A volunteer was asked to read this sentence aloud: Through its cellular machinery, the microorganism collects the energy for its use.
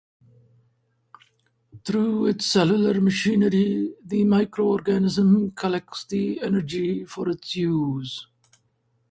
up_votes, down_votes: 4, 0